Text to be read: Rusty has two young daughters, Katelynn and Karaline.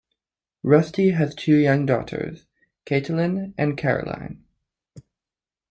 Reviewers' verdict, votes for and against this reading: rejected, 0, 2